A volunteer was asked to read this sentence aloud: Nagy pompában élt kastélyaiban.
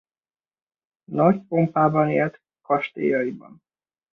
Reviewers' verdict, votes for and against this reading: rejected, 0, 2